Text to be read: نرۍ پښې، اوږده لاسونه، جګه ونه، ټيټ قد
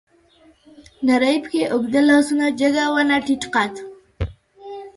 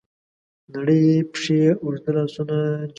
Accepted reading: first